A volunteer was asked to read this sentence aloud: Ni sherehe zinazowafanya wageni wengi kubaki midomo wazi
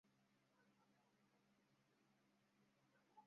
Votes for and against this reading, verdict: 0, 2, rejected